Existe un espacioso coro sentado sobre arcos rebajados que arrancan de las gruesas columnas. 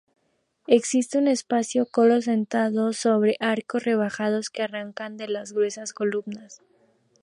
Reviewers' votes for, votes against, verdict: 0, 2, rejected